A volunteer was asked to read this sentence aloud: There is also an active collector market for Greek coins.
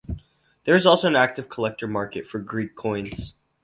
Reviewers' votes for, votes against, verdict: 4, 0, accepted